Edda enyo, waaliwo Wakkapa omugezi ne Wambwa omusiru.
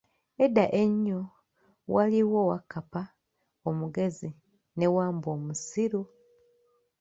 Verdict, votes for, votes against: accepted, 2, 0